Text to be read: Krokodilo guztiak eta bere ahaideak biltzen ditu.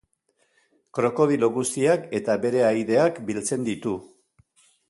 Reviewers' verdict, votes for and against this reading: accepted, 2, 0